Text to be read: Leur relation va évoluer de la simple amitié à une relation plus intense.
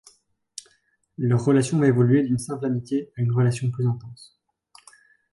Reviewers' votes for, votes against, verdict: 1, 2, rejected